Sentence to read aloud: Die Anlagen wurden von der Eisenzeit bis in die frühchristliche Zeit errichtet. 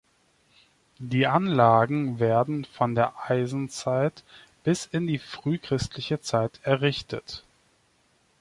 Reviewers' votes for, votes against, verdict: 0, 2, rejected